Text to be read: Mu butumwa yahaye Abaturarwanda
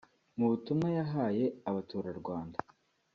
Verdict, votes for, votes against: accepted, 2, 1